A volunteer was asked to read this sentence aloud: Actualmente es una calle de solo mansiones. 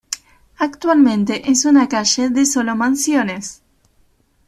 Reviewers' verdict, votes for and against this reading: accepted, 2, 0